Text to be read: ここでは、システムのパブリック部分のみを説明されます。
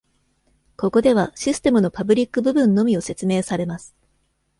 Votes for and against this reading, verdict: 2, 0, accepted